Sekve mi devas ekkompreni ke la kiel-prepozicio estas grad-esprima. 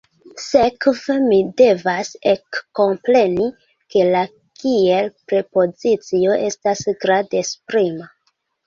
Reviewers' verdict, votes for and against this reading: rejected, 0, 2